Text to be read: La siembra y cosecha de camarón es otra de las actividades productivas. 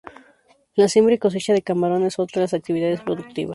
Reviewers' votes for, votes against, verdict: 2, 0, accepted